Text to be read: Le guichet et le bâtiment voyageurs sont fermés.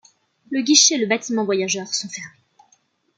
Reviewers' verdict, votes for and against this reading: accepted, 2, 0